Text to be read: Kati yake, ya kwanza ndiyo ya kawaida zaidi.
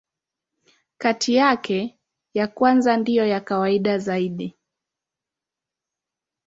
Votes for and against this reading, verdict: 2, 0, accepted